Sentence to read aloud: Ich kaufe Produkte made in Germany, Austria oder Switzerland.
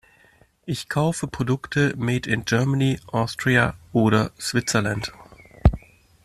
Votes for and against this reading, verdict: 2, 0, accepted